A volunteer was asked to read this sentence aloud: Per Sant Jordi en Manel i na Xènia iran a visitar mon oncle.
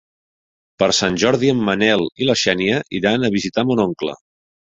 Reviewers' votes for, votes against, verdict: 1, 2, rejected